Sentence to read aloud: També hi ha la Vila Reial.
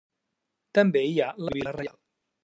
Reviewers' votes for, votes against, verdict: 1, 2, rejected